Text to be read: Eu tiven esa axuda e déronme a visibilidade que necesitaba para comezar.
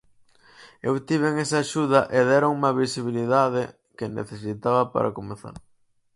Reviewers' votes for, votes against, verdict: 4, 0, accepted